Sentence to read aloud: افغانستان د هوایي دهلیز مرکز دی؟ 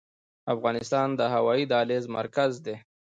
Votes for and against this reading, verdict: 1, 2, rejected